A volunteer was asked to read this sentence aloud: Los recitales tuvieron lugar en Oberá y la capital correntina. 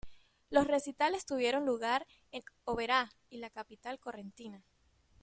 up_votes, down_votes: 1, 2